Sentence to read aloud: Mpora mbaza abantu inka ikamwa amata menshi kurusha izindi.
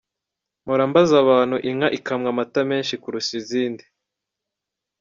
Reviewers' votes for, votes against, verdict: 2, 0, accepted